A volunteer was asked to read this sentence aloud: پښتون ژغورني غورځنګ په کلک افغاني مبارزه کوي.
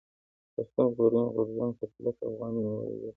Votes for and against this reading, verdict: 1, 2, rejected